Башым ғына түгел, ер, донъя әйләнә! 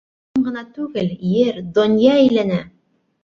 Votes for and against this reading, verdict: 0, 2, rejected